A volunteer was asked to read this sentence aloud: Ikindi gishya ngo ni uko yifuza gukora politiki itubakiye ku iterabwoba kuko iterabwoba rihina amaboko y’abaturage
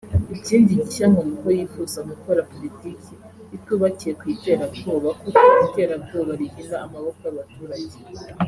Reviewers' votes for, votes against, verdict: 2, 0, accepted